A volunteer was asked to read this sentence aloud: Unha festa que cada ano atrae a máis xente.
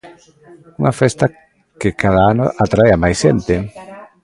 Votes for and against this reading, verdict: 0, 2, rejected